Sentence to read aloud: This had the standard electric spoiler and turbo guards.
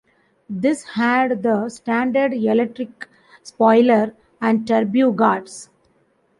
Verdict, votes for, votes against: rejected, 0, 2